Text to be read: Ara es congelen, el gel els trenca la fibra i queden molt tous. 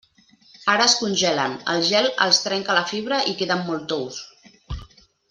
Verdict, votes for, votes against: accepted, 3, 0